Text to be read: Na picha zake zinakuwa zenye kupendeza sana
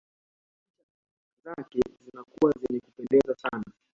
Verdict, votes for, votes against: rejected, 0, 2